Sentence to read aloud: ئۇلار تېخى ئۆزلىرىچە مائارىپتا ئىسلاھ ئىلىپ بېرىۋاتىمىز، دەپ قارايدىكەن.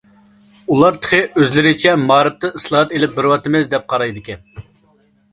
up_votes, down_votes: 0, 2